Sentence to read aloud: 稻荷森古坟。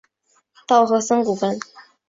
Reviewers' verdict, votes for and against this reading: accepted, 4, 1